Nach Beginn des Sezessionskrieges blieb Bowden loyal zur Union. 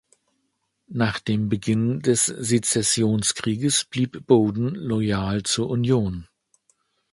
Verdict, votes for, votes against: rejected, 0, 2